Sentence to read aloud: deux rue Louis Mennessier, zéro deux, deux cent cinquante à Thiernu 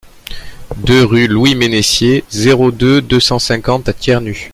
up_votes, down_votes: 2, 0